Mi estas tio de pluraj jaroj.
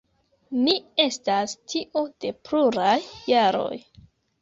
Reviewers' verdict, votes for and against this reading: rejected, 1, 2